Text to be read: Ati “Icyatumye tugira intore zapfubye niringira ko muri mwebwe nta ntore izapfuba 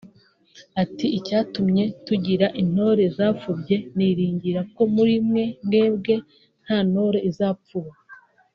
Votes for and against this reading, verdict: 3, 0, accepted